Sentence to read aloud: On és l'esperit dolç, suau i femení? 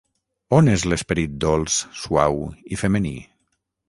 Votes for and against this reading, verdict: 6, 0, accepted